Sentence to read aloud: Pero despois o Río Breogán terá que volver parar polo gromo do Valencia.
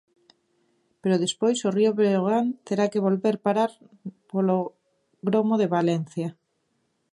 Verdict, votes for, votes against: rejected, 1, 2